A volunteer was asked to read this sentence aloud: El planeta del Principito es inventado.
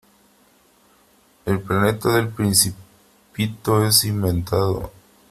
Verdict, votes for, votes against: rejected, 1, 2